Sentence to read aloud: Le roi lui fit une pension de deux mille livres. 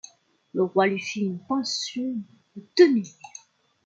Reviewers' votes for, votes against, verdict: 0, 2, rejected